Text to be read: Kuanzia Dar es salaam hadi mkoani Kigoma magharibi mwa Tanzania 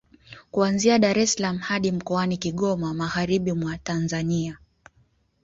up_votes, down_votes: 2, 0